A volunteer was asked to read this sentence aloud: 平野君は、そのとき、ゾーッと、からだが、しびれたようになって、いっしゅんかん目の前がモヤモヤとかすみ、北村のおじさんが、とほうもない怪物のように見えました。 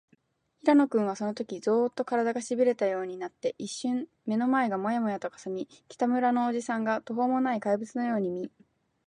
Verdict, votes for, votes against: rejected, 4, 5